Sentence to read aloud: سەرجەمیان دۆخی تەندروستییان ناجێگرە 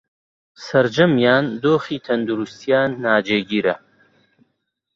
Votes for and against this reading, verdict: 0, 2, rejected